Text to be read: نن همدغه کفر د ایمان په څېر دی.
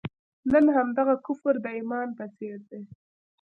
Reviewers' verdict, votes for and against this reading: accepted, 2, 0